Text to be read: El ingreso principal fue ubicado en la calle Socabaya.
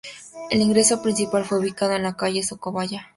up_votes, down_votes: 2, 0